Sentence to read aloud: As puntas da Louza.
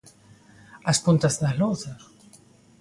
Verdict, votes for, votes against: accepted, 2, 0